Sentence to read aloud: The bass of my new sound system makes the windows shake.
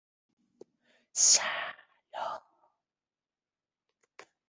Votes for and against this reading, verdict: 0, 2, rejected